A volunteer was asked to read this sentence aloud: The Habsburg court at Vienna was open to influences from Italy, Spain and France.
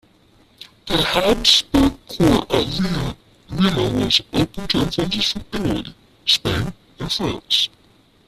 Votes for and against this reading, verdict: 1, 2, rejected